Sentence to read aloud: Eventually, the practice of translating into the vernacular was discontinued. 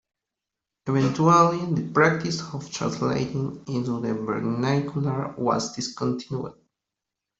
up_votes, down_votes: 1, 2